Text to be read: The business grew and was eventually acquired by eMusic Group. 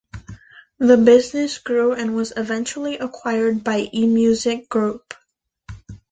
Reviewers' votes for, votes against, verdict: 2, 0, accepted